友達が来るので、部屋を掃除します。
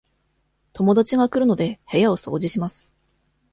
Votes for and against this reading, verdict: 2, 0, accepted